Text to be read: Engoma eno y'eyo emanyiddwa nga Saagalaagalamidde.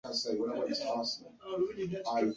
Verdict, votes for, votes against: rejected, 0, 2